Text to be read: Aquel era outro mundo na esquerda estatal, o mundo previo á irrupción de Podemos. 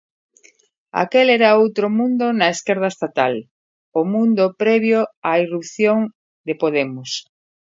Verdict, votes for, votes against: accepted, 2, 0